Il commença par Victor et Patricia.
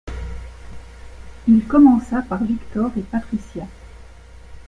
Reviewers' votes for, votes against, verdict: 2, 0, accepted